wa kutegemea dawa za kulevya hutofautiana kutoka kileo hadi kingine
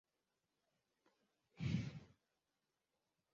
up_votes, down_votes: 0, 2